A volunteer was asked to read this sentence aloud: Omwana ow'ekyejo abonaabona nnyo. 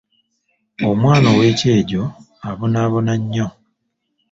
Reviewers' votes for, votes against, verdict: 2, 0, accepted